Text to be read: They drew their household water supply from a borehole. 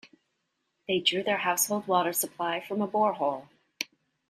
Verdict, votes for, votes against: accepted, 2, 0